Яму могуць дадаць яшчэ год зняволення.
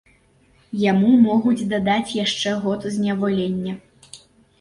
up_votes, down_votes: 2, 0